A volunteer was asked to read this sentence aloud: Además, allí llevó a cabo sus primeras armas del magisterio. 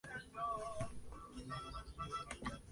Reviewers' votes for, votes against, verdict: 0, 2, rejected